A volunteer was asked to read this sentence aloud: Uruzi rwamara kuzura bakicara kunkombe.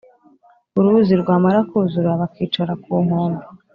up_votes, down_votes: 2, 0